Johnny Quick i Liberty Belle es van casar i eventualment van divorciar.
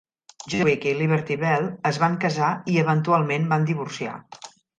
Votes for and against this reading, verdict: 1, 2, rejected